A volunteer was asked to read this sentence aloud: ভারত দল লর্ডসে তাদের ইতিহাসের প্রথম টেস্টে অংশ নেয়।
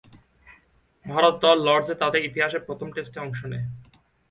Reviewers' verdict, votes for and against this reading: accepted, 8, 1